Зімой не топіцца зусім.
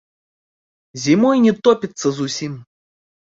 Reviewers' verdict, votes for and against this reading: accepted, 2, 0